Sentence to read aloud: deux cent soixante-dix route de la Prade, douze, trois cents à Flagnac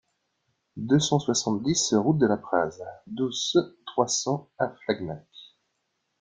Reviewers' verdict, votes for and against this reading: rejected, 1, 2